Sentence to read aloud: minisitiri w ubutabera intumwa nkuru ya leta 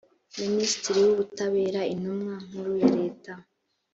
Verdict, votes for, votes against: accepted, 2, 0